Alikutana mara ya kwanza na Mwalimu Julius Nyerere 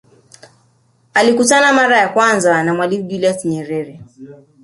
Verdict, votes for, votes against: rejected, 1, 2